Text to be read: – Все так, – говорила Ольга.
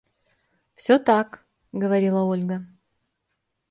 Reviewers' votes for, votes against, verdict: 2, 0, accepted